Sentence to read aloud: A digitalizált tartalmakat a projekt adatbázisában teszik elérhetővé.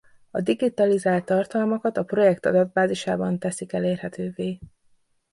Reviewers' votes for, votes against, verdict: 2, 0, accepted